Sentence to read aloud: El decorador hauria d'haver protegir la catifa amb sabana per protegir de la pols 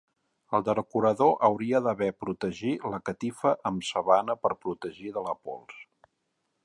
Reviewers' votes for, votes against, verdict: 2, 3, rejected